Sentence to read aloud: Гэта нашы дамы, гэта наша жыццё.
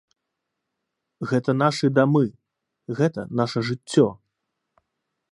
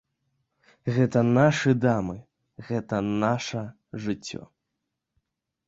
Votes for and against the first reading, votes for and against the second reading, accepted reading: 2, 0, 1, 2, first